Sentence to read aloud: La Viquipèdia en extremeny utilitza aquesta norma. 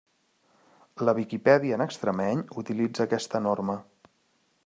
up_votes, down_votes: 2, 0